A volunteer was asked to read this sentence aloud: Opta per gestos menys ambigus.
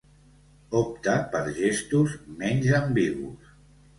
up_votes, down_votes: 2, 0